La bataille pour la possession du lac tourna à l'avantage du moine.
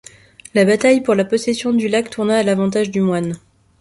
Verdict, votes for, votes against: accepted, 2, 0